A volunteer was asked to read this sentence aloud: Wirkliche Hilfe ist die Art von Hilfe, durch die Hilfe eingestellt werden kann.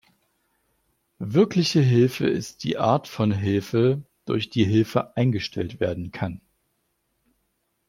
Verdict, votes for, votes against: accepted, 2, 0